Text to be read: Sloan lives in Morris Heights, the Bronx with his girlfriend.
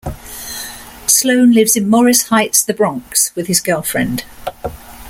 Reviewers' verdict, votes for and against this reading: accepted, 2, 0